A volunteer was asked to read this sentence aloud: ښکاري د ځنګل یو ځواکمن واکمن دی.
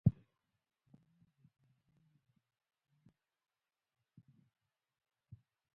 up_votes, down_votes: 1, 2